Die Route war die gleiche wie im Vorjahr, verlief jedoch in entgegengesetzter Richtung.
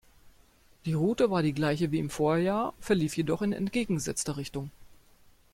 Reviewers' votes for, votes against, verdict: 2, 0, accepted